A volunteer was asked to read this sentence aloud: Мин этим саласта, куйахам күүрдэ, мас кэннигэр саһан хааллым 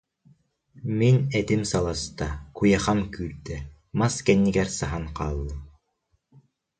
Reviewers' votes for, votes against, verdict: 3, 0, accepted